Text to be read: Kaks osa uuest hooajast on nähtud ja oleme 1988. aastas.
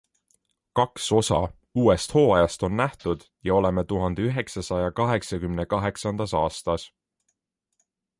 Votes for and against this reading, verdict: 0, 2, rejected